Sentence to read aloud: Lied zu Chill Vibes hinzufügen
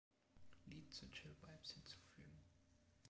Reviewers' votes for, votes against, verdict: 0, 2, rejected